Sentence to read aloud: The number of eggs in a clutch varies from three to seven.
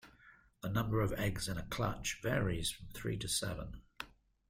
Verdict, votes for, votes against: accepted, 2, 0